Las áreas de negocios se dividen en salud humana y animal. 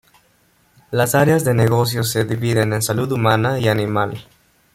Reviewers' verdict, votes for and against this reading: accepted, 2, 1